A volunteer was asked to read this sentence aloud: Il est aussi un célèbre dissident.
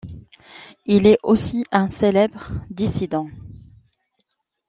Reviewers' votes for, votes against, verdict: 2, 0, accepted